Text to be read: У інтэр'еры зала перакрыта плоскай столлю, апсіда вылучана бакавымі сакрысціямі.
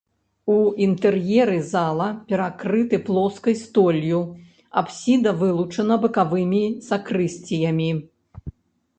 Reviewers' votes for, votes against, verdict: 1, 2, rejected